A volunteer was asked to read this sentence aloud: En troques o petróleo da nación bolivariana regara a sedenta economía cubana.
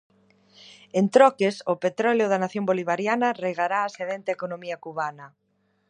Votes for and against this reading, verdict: 0, 2, rejected